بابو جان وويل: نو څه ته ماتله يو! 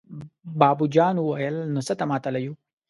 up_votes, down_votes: 2, 1